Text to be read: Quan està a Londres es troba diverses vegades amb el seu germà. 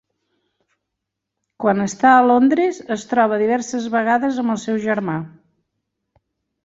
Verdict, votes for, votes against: accepted, 3, 0